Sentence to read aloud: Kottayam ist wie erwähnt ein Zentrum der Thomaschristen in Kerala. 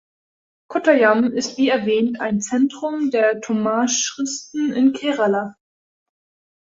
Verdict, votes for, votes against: rejected, 1, 2